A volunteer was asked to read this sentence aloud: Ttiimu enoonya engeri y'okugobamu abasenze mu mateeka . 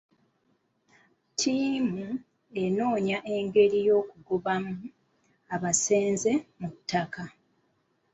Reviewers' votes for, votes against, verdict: 2, 1, accepted